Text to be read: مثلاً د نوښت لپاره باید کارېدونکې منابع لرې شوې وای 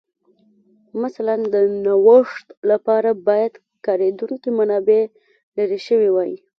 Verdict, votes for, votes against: accepted, 2, 0